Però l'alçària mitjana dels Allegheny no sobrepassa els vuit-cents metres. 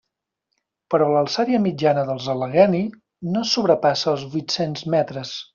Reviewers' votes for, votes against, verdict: 2, 0, accepted